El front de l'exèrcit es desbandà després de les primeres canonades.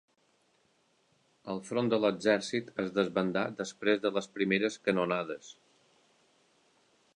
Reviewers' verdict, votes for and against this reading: accepted, 2, 0